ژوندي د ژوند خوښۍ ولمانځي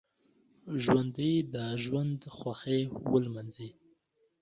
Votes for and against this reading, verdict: 1, 2, rejected